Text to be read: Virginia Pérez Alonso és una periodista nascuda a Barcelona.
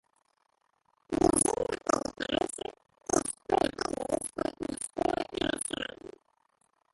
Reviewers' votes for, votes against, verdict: 0, 2, rejected